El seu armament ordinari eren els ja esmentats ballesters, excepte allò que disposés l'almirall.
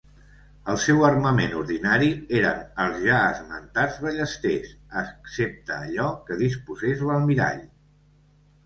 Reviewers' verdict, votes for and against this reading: accepted, 2, 1